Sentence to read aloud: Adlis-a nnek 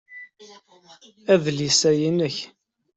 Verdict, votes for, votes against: rejected, 0, 2